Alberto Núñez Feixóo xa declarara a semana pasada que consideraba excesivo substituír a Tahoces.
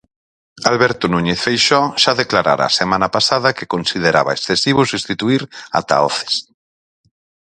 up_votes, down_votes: 4, 2